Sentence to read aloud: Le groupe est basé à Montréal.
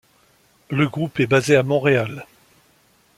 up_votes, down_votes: 2, 0